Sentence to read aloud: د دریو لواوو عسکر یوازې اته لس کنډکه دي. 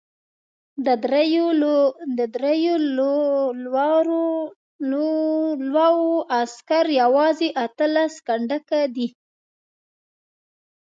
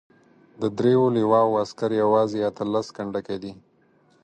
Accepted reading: second